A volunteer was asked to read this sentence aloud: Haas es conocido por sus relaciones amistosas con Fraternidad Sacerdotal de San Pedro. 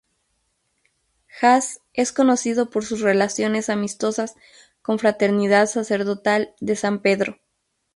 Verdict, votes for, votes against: accepted, 2, 0